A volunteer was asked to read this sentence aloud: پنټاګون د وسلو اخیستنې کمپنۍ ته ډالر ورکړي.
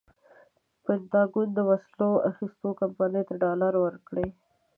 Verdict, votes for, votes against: accepted, 2, 0